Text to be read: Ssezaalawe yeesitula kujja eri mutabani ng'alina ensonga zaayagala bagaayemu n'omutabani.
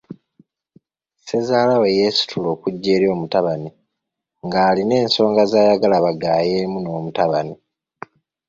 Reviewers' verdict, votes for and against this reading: rejected, 0, 2